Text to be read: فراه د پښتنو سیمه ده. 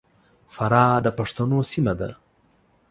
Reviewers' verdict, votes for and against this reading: accepted, 2, 0